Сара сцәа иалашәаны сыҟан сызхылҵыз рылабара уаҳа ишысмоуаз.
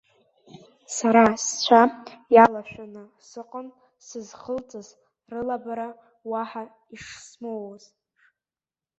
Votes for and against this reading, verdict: 1, 2, rejected